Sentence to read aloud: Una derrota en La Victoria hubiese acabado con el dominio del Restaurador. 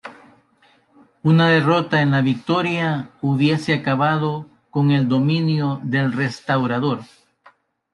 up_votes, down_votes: 2, 0